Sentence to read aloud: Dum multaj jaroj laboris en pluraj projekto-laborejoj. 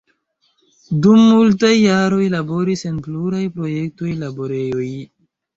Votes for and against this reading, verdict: 2, 0, accepted